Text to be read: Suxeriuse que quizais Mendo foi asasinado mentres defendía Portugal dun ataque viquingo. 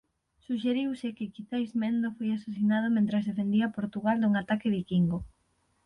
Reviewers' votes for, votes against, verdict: 3, 0, accepted